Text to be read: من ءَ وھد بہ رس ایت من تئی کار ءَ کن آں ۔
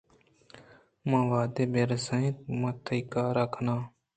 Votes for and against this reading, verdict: 2, 0, accepted